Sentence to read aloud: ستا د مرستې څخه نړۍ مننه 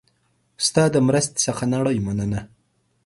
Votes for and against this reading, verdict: 3, 0, accepted